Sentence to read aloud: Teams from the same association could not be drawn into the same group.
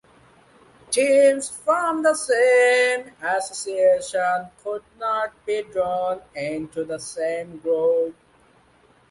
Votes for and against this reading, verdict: 0, 2, rejected